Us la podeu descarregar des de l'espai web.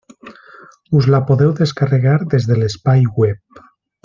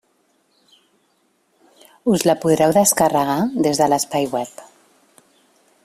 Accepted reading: first